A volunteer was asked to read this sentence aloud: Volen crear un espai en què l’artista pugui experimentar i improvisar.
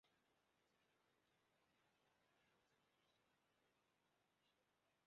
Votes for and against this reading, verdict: 0, 2, rejected